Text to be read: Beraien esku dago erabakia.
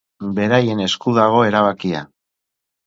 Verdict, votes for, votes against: accepted, 4, 0